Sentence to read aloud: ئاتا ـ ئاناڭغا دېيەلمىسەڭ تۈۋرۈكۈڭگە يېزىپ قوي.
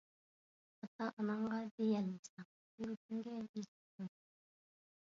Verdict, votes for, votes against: rejected, 0, 2